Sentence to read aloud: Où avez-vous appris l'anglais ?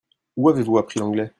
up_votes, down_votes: 2, 0